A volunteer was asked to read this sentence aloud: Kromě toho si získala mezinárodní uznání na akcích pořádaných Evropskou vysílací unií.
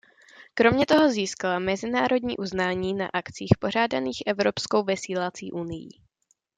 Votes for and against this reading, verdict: 0, 2, rejected